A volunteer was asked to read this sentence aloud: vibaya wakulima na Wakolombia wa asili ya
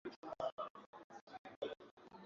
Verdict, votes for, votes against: rejected, 1, 2